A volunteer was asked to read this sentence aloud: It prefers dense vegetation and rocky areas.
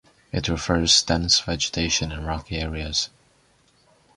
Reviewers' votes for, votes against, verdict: 2, 0, accepted